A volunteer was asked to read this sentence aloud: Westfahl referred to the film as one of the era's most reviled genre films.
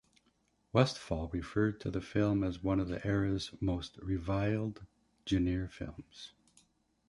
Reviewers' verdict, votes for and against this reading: accepted, 2, 0